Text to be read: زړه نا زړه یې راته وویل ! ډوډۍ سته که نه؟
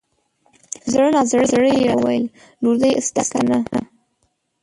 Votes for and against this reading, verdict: 0, 2, rejected